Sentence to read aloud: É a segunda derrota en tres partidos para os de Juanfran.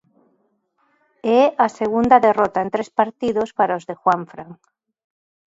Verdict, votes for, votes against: accepted, 2, 0